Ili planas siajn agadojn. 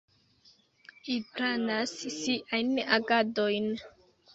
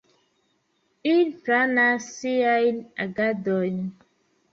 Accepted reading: second